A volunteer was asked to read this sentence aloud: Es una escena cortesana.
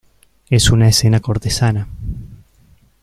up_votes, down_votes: 2, 0